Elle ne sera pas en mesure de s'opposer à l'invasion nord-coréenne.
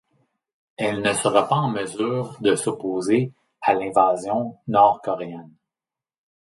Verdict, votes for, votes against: accepted, 2, 0